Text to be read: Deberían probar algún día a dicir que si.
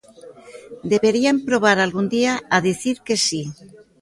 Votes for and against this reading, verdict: 2, 0, accepted